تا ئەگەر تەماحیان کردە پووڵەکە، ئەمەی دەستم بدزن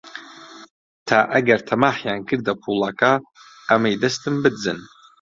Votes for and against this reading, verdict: 2, 0, accepted